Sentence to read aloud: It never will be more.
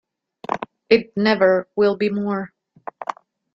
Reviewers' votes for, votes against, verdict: 2, 0, accepted